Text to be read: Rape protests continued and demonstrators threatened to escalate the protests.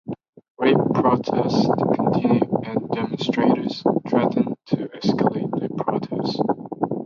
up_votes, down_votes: 0, 2